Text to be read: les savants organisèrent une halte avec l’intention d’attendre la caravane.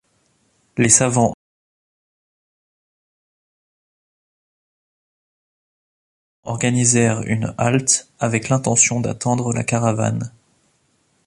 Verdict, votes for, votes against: rejected, 0, 2